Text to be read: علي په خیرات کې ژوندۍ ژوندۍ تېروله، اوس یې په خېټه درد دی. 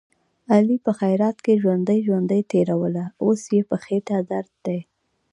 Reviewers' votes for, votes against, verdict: 2, 0, accepted